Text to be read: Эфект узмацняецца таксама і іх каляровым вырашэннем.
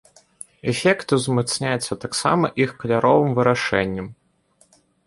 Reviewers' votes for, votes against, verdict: 1, 2, rejected